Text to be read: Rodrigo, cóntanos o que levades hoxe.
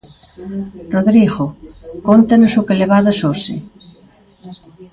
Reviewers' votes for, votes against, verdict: 0, 2, rejected